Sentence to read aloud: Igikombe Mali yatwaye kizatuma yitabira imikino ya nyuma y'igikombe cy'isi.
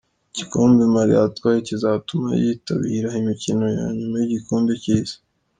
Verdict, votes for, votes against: accepted, 3, 0